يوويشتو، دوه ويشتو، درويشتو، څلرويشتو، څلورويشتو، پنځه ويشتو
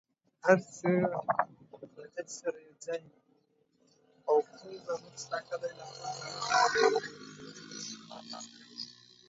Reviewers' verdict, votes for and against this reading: rejected, 0, 2